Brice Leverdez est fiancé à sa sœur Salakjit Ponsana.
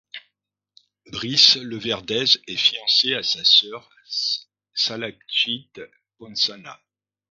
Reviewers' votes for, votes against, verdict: 1, 2, rejected